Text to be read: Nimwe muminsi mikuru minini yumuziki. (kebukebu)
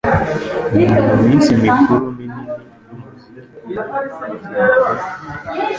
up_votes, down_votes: 0, 3